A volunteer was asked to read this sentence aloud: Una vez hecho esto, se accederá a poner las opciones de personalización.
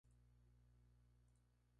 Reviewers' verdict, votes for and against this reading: rejected, 0, 2